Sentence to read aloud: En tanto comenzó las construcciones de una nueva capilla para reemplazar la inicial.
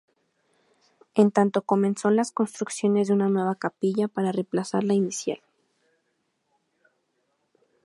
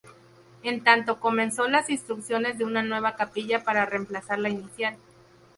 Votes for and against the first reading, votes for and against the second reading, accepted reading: 2, 0, 0, 2, first